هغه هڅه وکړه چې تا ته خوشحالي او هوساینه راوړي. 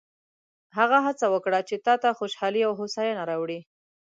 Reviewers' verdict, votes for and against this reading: accepted, 2, 0